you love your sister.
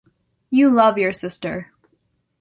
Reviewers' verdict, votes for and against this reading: accepted, 2, 0